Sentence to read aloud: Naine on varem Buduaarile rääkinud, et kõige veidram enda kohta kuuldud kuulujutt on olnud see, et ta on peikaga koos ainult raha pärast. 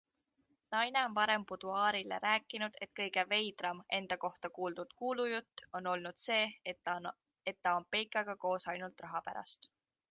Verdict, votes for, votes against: rejected, 0, 2